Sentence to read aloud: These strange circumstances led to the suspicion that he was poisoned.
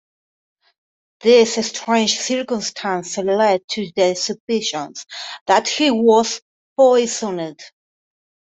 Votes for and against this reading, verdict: 1, 2, rejected